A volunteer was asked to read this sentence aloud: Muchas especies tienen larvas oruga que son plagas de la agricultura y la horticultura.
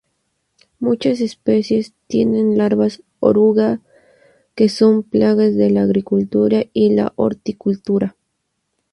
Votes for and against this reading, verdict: 0, 2, rejected